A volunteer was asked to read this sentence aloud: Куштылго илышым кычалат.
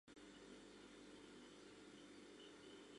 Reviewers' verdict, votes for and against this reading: rejected, 0, 2